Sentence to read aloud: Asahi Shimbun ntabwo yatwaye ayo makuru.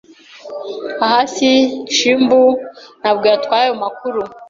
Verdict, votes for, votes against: rejected, 0, 2